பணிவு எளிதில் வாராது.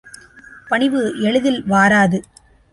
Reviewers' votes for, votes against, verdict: 2, 0, accepted